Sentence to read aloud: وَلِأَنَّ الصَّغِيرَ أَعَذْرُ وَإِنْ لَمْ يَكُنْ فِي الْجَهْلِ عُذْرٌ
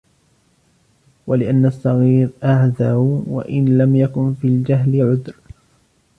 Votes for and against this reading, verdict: 0, 2, rejected